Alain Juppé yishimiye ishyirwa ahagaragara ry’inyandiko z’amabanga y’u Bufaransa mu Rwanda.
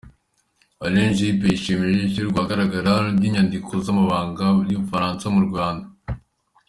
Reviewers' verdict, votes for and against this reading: accepted, 2, 1